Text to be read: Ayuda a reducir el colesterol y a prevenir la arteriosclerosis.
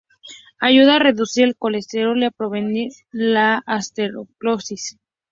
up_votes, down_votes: 0, 4